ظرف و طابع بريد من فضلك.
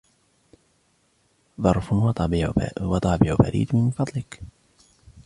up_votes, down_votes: 1, 2